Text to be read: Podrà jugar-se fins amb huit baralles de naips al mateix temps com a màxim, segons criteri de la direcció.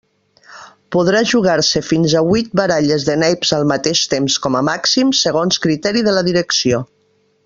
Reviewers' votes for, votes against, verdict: 1, 2, rejected